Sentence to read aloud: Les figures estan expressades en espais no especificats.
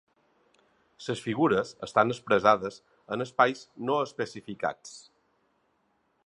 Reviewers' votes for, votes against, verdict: 1, 2, rejected